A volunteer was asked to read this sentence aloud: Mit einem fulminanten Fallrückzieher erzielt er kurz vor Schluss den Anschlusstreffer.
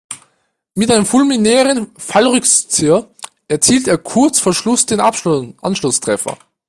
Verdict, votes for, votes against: rejected, 0, 2